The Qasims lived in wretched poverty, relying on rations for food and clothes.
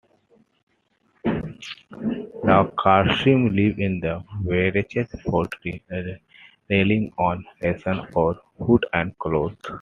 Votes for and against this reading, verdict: 1, 2, rejected